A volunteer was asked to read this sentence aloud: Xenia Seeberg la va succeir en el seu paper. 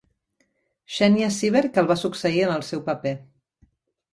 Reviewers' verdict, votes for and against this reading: rejected, 0, 3